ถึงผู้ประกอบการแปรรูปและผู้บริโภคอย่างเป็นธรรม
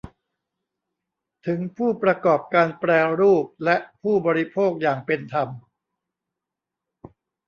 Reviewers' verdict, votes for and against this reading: rejected, 1, 2